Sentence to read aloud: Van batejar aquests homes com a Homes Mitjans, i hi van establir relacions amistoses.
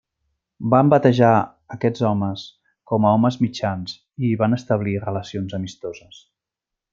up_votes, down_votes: 3, 0